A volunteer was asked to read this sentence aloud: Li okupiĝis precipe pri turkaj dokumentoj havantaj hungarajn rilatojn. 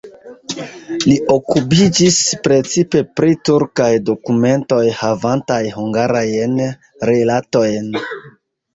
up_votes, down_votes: 1, 2